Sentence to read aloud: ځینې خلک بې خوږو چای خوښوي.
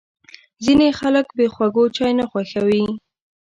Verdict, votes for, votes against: rejected, 0, 2